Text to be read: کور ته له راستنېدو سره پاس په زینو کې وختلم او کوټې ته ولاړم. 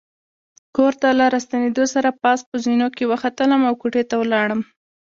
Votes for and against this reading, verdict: 2, 0, accepted